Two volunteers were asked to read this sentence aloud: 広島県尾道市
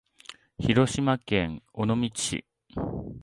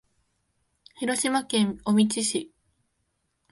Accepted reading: first